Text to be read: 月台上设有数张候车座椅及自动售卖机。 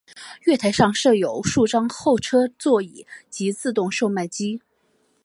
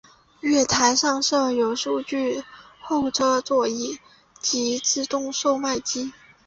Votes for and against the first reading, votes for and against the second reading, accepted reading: 5, 0, 1, 2, first